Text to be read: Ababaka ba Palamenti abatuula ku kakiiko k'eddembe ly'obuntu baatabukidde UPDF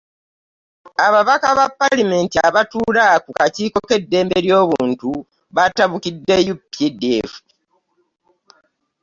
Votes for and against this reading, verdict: 1, 2, rejected